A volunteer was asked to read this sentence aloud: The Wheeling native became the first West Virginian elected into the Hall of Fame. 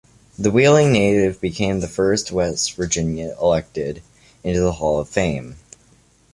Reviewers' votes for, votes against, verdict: 2, 1, accepted